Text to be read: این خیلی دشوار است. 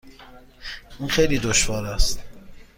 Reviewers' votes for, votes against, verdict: 2, 0, accepted